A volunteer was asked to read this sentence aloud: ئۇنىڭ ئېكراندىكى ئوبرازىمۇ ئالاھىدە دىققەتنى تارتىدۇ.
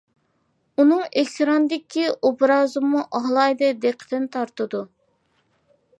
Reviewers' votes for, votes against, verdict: 0, 2, rejected